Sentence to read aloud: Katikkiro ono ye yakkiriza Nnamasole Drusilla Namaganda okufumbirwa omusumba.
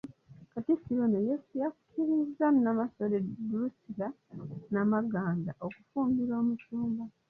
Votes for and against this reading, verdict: 1, 2, rejected